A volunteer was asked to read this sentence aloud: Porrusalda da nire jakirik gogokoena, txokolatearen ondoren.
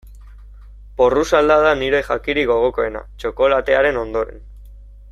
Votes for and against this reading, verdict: 2, 0, accepted